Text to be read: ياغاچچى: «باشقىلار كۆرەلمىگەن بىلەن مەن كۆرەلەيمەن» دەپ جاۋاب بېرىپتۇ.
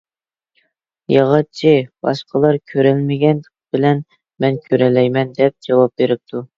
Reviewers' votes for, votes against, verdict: 2, 0, accepted